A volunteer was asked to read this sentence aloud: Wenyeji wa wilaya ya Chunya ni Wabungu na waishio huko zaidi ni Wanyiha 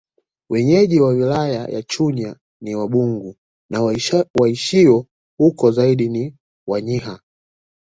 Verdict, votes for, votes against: accepted, 2, 1